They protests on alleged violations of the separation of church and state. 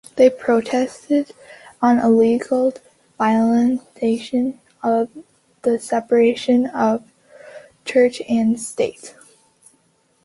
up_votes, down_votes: 0, 3